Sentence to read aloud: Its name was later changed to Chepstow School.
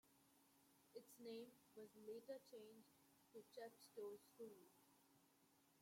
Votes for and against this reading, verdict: 0, 2, rejected